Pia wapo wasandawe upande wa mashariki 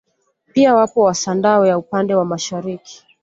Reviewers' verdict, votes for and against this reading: accepted, 2, 0